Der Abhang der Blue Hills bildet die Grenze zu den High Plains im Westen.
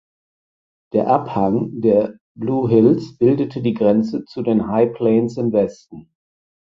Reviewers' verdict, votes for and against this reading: rejected, 2, 4